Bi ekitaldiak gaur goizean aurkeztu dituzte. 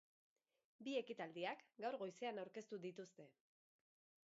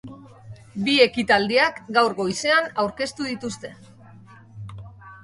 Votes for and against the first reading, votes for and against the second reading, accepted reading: 1, 3, 2, 0, second